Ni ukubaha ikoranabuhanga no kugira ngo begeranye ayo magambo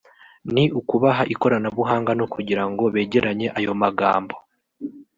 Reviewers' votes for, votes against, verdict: 1, 2, rejected